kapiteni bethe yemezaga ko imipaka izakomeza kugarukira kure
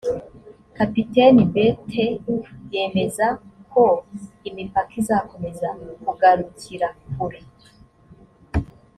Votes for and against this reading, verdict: 1, 2, rejected